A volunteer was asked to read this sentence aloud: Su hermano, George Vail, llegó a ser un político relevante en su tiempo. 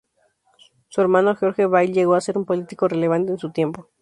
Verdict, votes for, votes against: rejected, 0, 2